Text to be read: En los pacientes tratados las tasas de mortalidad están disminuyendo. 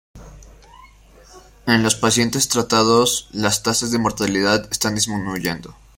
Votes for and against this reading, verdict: 2, 0, accepted